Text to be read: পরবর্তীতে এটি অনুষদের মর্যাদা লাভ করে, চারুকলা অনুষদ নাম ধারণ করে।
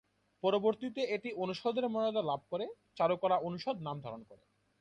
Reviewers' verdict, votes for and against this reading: accepted, 2, 0